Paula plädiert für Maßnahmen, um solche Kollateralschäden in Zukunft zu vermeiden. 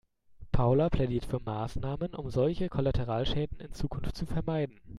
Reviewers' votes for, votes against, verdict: 2, 0, accepted